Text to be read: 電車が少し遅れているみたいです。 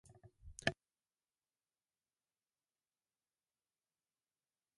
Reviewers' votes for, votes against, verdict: 1, 2, rejected